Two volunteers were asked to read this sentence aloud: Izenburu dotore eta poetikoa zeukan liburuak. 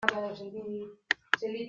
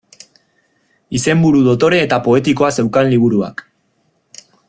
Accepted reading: second